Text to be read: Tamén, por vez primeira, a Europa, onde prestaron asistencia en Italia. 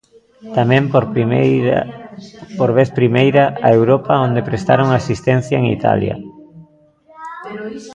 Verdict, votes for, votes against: rejected, 0, 2